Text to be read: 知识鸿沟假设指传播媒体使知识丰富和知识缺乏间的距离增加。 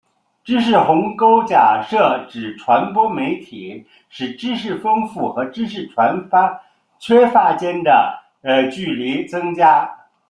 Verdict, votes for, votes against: rejected, 1, 2